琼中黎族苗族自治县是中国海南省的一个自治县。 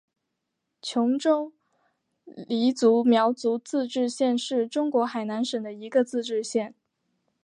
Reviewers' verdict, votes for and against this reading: accepted, 3, 2